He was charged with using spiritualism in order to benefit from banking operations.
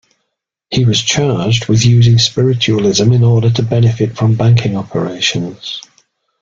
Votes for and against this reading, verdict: 2, 0, accepted